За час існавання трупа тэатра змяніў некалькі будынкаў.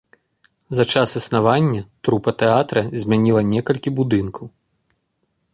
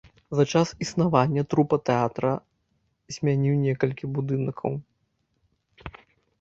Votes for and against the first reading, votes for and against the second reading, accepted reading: 1, 2, 2, 0, second